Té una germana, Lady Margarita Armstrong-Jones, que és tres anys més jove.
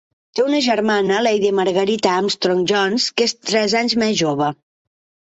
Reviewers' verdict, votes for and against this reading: accepted, 2, 0